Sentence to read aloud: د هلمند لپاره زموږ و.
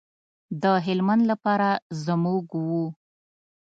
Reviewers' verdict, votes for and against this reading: rejected, 1, 2